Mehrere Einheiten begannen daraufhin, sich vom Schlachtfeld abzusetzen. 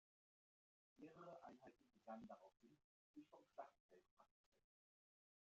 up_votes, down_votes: 0, 2